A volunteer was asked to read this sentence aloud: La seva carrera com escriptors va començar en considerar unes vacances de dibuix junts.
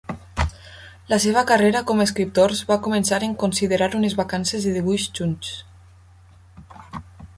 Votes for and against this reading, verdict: 0, 2, rejected